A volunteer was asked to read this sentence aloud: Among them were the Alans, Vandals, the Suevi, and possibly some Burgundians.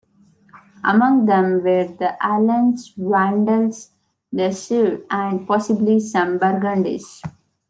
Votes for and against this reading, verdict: 2, 0, accepted